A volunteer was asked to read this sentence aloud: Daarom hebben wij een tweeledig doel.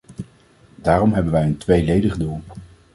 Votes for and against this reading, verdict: 2, 1, accepted